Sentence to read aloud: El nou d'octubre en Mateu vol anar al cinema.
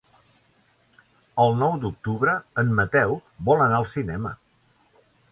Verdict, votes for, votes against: accepted, 3, 0